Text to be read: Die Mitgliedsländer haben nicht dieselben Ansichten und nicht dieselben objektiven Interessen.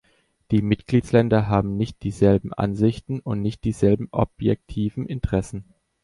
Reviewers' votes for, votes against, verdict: 2, 0, accepted